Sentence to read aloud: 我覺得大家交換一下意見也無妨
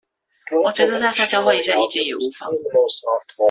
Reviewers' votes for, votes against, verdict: 0, 2, rejected